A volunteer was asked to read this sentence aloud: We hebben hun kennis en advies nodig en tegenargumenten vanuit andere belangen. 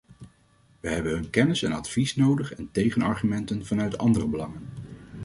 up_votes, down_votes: 2, 0